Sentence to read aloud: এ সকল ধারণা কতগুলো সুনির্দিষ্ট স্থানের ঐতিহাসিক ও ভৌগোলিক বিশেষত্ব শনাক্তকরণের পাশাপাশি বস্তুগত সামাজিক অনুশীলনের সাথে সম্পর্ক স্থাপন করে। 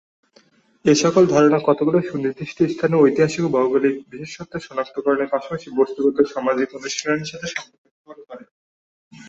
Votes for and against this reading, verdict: 1, 2, rejected